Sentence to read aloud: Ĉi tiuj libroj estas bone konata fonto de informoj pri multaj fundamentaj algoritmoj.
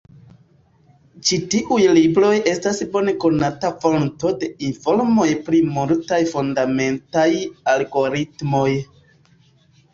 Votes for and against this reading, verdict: 0, 2, rejected